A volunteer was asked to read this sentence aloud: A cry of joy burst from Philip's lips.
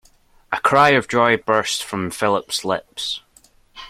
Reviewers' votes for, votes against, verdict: 2, 0, accepted